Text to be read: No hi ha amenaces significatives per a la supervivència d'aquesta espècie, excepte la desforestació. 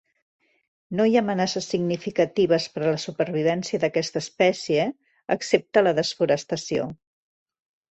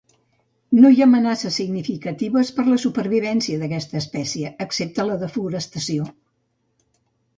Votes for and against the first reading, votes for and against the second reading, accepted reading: 2, 0, 0, 2, first